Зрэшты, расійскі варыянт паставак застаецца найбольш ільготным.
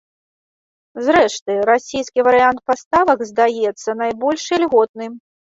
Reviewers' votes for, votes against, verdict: 0, 2, rejected